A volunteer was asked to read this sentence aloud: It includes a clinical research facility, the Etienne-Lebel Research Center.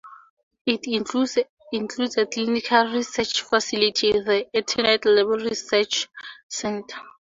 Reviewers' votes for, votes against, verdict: 2, 2, rejected